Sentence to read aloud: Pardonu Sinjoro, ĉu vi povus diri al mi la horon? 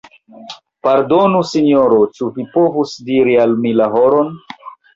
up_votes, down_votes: 2, 0